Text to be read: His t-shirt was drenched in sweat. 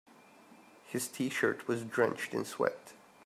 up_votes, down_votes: 2, 0